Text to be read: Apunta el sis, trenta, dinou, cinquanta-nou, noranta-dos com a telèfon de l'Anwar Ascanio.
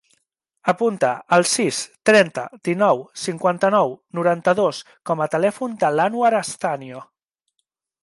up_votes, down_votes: 1, 2